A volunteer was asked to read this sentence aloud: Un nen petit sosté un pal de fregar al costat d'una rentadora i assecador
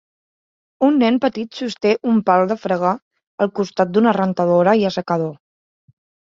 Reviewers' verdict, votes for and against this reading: accepted, 3, 1